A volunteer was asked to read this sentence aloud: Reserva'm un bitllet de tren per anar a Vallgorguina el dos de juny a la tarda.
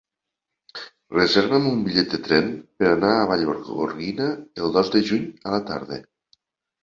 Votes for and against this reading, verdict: 3, 1, accepted